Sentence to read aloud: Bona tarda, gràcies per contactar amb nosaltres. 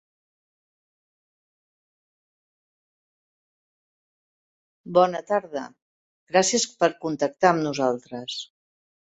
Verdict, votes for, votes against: rejected, 1, 2